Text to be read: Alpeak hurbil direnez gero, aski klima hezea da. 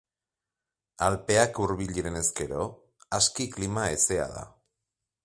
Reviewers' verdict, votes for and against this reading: accepted, 2, 0